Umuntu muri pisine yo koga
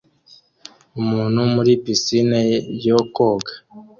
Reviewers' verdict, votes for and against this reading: accepted, 2, 0